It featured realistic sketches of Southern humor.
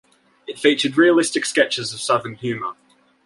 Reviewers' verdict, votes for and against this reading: accepted, 2, 0